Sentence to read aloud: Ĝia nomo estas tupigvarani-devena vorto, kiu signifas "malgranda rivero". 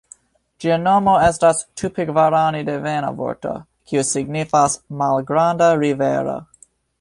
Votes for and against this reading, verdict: 2, 0, accepted